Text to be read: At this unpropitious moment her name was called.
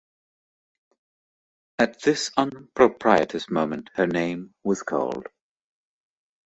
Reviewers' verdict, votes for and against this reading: accepted, 2, 0